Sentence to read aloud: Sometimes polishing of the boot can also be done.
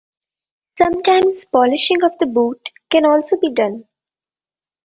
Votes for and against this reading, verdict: 2, 1, accepted